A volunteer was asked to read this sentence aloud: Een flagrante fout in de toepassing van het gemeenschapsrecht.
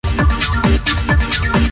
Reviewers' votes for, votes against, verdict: 0, 2, rejected